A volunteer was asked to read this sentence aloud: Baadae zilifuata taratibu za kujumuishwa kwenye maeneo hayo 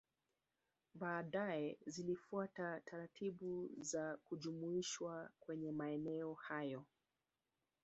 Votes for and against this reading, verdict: 2, 0, accepted